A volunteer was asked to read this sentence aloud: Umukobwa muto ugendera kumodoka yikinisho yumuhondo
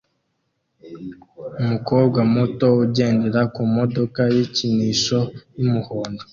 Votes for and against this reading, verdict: 2, 0, accepted